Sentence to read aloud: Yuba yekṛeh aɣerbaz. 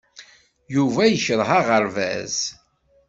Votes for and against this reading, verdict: 2, 0, accepted